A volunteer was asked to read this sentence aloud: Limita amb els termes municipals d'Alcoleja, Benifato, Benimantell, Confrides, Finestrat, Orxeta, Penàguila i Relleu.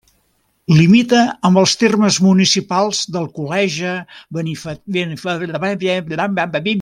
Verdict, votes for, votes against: rejected, 0, 2